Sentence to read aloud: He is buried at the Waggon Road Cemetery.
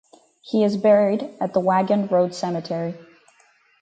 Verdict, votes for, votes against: accepted, 2, 0